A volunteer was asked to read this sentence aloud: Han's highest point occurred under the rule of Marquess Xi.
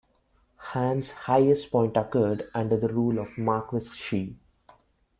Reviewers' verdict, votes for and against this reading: accepted, 2, 1